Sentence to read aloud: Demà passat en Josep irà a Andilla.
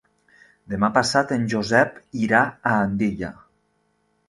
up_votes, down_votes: 3, 0